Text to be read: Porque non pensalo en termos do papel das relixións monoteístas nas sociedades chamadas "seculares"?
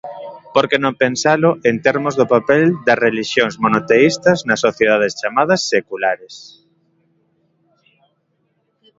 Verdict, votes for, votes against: accepted, 2, 0